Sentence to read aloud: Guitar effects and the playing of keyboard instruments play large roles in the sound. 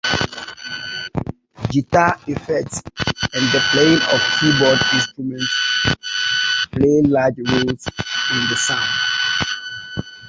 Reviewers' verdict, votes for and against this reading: rejected, 1, 3